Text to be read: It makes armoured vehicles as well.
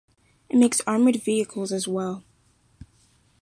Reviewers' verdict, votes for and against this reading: accepted, 2, 0